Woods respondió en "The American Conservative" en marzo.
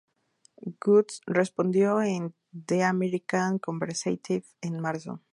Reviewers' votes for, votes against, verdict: 0, 2, rejected